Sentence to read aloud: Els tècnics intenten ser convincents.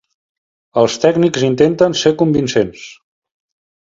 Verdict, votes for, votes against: accepted, 2, 0